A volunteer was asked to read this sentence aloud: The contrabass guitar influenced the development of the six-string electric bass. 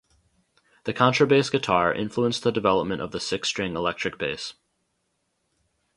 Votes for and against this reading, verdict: 2, 0, accepted